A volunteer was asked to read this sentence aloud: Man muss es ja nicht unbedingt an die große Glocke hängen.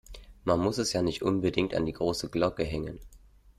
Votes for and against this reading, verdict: 2, 0, accepted